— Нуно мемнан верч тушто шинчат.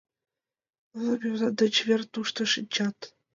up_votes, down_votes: 1, 2